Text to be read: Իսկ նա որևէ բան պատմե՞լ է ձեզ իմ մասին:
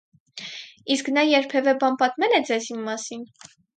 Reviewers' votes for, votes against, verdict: 2, 4, rejected